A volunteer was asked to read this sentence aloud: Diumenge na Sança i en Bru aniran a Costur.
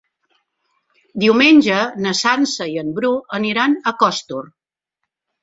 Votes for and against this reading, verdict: 1, 2, rejected